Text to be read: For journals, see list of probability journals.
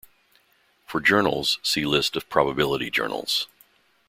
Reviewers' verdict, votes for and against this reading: accepted, 2, 0